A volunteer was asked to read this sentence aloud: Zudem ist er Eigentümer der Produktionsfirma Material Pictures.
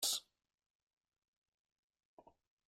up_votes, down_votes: 0, 2